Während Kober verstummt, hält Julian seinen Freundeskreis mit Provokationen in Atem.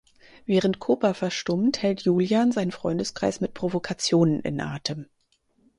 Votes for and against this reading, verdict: 2, 4, rejected